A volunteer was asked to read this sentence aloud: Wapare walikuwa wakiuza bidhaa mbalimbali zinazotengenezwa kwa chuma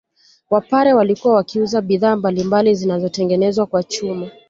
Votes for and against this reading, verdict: 2, 1, accepted